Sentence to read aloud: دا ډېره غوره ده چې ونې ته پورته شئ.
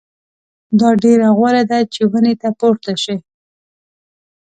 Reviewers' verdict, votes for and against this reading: accepted, 2, 0